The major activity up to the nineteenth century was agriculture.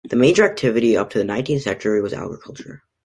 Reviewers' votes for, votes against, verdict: 2, 0, accepted